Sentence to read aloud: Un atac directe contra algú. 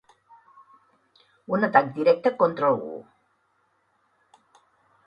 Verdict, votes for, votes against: accepted, 4, 0